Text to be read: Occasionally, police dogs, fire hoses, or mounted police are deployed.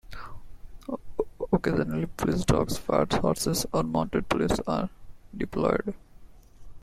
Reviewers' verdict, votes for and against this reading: rejected, 0, 2